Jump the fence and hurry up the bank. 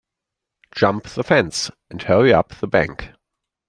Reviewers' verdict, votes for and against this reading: accepted, 2, 0